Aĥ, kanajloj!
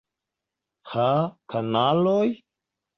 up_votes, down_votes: 0, 2